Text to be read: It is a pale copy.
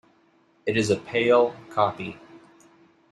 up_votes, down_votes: 2, 0